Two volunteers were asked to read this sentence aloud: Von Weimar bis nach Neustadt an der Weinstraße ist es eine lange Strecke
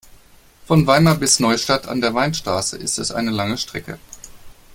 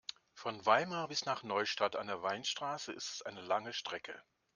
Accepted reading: second